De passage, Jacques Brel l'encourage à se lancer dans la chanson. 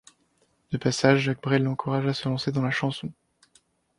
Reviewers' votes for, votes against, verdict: 1, 2, rejected